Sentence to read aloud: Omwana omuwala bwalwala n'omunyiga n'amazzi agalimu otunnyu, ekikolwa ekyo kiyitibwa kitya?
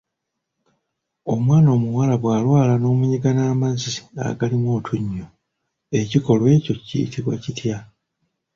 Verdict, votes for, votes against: accepted, 2, 1